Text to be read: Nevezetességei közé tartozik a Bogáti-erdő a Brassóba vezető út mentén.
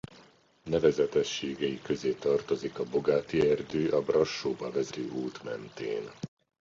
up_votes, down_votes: 0, 2